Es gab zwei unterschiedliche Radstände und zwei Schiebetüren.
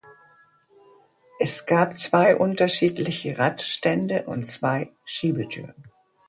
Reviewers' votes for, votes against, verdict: 2, 1, accepted